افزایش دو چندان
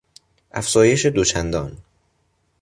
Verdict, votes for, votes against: accepted, 2, 0